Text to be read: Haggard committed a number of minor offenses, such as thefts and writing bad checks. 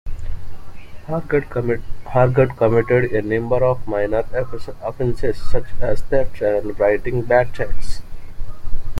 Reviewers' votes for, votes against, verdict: 1, 2, rejected